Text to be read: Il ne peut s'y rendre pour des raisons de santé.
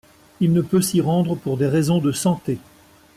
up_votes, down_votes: 2, 0